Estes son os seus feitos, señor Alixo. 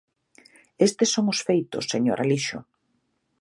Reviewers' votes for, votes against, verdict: 11, 13, rejected